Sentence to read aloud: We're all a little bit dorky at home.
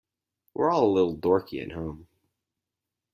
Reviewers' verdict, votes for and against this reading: rejected, 0, 4